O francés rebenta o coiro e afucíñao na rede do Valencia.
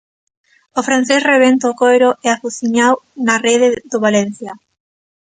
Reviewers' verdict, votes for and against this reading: rejected, 0, 2